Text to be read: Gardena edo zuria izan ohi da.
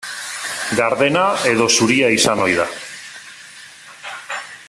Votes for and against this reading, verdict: 0, 2, rejected